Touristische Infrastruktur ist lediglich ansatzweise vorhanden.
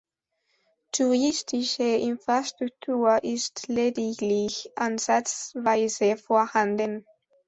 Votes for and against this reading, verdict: 2, 0, accepted